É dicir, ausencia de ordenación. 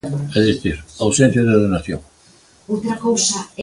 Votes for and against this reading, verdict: 1, 2, rejected